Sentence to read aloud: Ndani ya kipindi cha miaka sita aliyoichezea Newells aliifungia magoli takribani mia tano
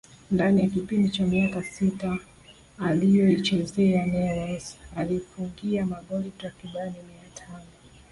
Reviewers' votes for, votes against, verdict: 2, 1, accepted